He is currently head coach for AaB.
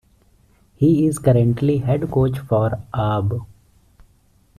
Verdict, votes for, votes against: rejected, 1, 2